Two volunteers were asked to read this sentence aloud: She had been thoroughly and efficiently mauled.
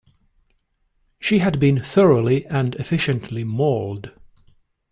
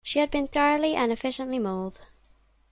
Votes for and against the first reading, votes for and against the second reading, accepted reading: 2, 0, 1, 2, first